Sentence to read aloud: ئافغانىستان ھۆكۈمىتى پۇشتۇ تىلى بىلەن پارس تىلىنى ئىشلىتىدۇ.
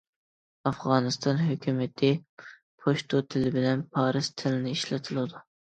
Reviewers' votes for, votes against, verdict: 0, 2, rejected